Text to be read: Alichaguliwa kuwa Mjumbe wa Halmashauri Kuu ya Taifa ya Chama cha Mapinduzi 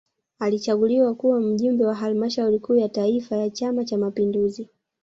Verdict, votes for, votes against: rejected, 0, 2